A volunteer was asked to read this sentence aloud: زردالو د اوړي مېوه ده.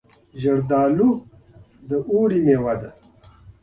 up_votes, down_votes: 2, 0